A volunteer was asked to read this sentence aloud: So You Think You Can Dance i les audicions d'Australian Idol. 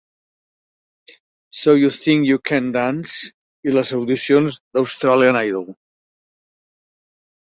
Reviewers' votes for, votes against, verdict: 2, 0, accepted